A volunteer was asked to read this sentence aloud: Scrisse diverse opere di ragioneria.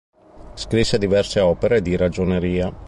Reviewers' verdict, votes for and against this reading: accepted, 3, 0